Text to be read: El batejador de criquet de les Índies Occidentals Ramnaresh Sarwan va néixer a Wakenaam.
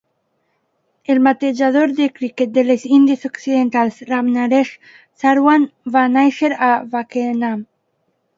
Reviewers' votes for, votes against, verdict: 0, 2, rejected